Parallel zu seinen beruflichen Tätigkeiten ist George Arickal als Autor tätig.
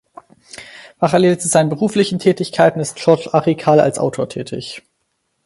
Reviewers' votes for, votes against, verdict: 4, 0, accepted